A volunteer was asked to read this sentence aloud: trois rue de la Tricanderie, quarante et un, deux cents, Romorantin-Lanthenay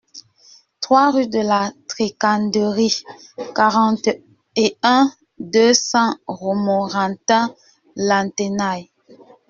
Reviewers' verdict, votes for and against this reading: rejected, 1, 2